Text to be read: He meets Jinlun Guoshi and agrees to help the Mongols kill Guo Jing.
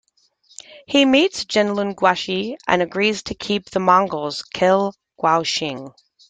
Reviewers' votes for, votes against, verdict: 0, 2, rejected